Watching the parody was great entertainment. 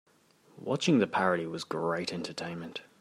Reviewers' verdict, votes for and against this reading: accepted, 3, 0